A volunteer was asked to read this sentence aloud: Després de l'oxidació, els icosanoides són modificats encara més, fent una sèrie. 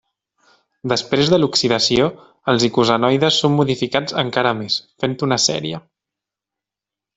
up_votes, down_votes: 3, 0